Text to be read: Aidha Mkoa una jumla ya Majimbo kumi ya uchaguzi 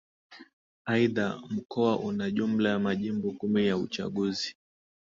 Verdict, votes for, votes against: accepted, 2, 0